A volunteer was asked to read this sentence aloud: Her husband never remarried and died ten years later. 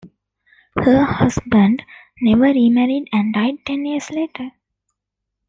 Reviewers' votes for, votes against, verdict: 2, 0, accepted